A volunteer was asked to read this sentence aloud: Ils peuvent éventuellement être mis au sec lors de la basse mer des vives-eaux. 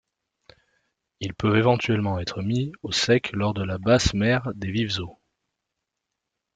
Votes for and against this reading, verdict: 2, 0, accepted